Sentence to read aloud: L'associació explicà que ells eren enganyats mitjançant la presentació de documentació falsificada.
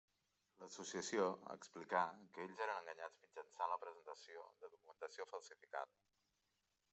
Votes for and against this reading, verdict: 1, 2, rejected